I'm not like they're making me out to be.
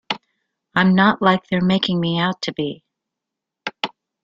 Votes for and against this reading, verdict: 2, 0, accepted